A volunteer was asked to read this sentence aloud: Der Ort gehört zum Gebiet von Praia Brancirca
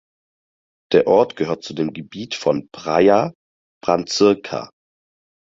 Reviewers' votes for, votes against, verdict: 0, 4, rejected